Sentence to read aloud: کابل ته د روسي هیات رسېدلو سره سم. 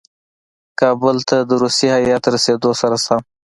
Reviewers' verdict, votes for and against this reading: accepted, 2, 0